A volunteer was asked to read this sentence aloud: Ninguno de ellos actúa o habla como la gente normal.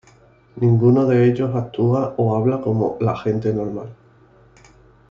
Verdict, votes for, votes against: accepted, 2, 0